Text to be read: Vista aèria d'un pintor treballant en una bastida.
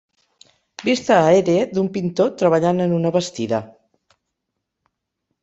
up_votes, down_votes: 0, 4